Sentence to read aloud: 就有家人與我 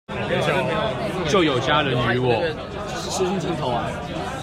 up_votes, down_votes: 1, 2